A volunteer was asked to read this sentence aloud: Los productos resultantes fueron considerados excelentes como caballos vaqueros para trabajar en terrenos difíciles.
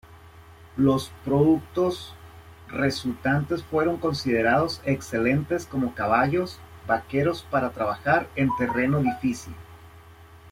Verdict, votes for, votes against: rejected, 0, 2